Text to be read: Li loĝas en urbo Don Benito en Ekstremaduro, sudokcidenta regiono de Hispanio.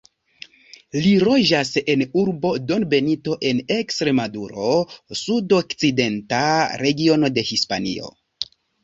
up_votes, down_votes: 1, 2